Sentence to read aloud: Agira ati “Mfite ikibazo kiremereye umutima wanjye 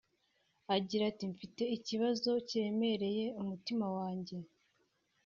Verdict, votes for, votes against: accepted, 2, 0